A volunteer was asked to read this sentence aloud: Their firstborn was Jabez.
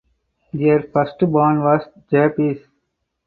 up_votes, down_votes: 4, 0